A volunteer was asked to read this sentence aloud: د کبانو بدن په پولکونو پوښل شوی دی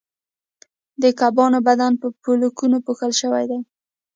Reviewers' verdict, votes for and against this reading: rejected, 1, 2